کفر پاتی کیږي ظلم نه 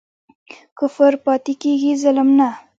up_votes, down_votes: 2, 0